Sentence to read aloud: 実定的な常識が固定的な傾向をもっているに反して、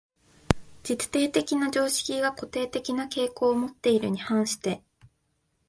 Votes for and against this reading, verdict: 2, 0, accepted